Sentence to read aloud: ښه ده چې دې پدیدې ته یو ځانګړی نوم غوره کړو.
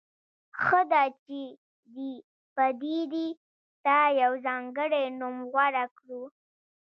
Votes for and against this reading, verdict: 1, 2, rejected